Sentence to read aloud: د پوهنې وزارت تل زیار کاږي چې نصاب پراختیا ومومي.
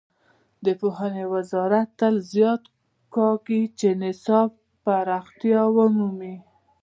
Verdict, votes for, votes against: rejected, 0, 2